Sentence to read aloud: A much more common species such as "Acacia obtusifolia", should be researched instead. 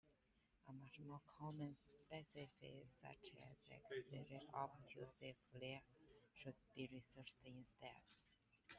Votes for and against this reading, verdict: 0, 2, rejected